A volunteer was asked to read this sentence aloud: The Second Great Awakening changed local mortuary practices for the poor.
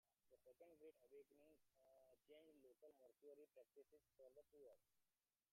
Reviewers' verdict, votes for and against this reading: rejected, 0, 2